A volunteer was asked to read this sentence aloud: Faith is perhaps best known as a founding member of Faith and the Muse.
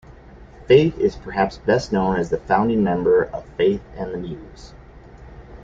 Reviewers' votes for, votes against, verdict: 1, 2, rejected